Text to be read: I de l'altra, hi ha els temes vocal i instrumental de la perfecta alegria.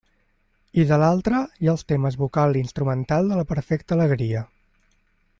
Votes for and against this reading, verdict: 2, 0, accepted